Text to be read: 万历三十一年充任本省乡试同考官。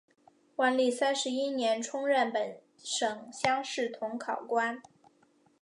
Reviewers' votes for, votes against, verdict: 2, 0, accepted